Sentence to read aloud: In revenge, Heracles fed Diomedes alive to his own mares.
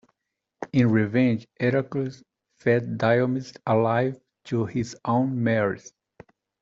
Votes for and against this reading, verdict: 2, 1, accepted